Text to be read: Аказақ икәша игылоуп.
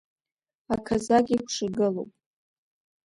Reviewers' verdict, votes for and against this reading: accepted, 2, 1